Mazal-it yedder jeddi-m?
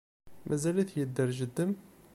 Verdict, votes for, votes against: rejected, 1, 2